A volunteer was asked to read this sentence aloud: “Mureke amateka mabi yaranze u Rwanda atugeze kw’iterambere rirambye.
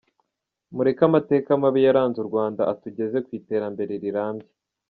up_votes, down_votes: 1, 2